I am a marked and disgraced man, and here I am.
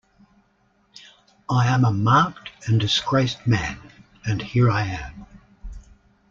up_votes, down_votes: 2, 0